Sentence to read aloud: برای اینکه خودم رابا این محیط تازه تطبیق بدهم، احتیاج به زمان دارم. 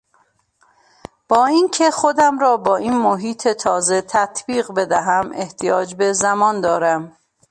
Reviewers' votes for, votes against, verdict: 0, 2, rejected